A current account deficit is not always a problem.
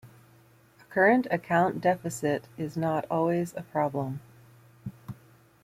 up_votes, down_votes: 0, 2